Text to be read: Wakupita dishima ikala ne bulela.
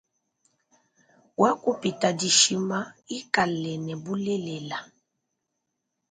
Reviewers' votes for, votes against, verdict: 2, 0, accepted